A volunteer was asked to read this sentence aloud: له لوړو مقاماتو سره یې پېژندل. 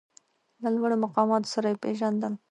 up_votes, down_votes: 1, 2